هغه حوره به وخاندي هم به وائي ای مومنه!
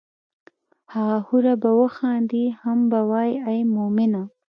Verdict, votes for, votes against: accepted, 3, 0